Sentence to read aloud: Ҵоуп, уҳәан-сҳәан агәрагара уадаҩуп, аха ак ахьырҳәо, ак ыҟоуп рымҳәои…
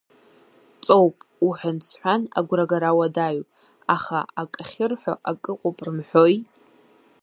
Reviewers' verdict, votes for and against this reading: accepted, 2, 0